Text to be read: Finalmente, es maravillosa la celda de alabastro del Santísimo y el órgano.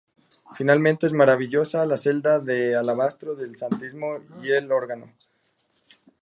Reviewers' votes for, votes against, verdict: 2, 0, accepted